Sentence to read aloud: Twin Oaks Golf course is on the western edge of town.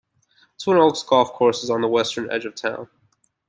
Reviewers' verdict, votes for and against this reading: accepted, 2, 0